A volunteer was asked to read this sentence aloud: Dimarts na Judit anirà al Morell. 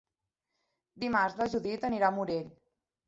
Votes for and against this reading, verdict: 3, 0, accepted